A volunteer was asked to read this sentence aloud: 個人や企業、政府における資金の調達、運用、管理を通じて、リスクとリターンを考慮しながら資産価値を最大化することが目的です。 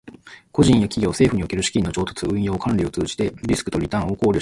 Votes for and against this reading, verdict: 0, 2, rejected